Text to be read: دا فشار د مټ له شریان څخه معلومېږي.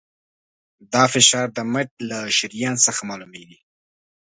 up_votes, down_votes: 2, 0